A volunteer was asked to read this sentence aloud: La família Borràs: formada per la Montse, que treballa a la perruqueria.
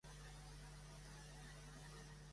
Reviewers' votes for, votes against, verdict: 0, 2, rejected